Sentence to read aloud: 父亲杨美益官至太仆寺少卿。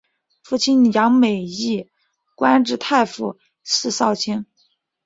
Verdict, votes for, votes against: accepted, 4, 2